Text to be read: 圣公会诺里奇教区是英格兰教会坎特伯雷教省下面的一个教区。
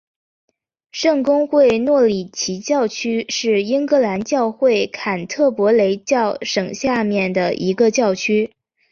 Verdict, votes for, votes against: accepted, 4, 0